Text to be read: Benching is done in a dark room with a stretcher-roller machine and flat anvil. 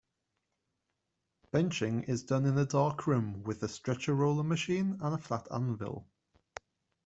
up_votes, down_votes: 1, 2